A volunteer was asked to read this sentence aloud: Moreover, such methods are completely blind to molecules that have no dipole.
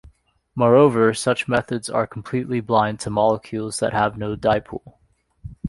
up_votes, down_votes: 2, 0